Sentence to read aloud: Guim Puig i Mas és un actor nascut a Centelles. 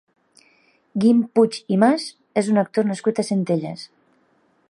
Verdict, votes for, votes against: accepted, 3, 0